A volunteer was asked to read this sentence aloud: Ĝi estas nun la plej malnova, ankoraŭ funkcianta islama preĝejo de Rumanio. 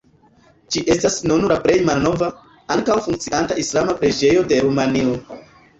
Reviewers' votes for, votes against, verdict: 0, 2, rejected